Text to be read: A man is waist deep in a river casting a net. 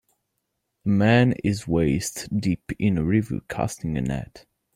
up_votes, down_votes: 0, 2